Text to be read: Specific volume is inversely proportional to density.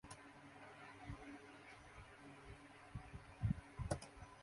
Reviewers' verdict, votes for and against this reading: rejected, 0, 2